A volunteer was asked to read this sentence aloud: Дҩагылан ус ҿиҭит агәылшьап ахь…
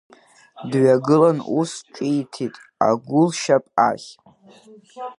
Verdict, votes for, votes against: accepted, 2, 0